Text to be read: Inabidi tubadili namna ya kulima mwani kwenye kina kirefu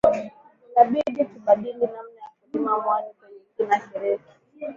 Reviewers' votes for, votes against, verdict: 0, 2, rejected